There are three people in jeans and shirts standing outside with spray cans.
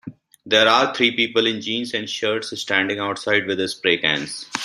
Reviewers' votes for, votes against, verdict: 1, 2, rejected